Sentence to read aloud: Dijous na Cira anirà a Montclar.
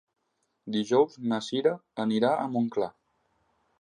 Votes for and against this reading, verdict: 3, 0, accepted